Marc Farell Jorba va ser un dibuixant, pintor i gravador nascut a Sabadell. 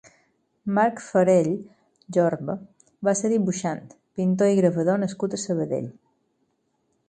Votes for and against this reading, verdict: 2, 4, rejected